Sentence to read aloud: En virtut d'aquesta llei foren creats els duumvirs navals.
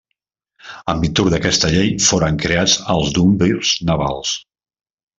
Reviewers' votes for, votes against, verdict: 2, 1, accepted